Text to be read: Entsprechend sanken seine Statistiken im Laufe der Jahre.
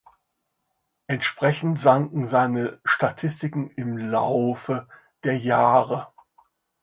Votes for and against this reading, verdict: 2, 0, accepted